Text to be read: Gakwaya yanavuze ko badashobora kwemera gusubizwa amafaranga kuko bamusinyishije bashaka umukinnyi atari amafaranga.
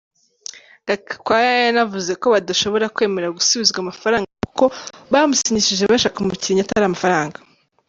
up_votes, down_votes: 1, 2